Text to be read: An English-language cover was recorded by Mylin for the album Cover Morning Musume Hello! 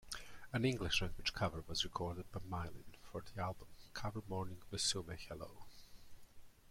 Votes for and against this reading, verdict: 0, 2, rejected